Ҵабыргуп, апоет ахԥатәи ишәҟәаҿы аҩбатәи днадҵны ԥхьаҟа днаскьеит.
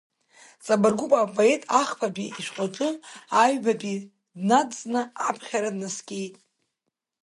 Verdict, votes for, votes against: rejected, 0, 2